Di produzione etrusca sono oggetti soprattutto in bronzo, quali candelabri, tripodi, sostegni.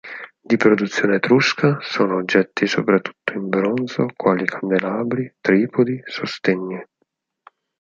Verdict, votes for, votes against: accepted, 4, 0